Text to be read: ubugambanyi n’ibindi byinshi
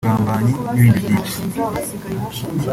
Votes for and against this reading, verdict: 1, 2, rejected